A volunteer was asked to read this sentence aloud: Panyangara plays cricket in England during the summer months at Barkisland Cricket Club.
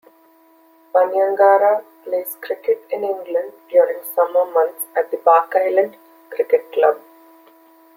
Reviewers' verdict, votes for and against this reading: accepted, 2, 1